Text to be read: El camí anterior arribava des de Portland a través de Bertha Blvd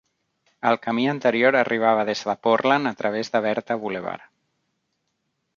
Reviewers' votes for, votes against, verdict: 2, 0, accepted